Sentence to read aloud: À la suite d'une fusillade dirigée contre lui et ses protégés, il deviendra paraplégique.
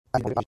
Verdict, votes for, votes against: rejected, 1, 2